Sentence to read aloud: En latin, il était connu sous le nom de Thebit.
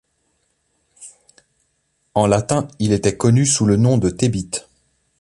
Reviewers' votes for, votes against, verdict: 2, 0, accepted